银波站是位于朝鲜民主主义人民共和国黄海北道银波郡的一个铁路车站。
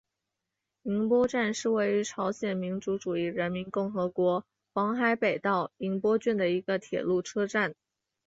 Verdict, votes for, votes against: accepted, 2, 1